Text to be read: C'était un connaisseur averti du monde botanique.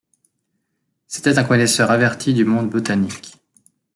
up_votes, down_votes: 2, 0